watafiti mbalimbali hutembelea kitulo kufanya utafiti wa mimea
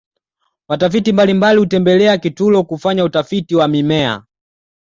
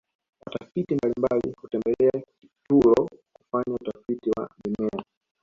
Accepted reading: first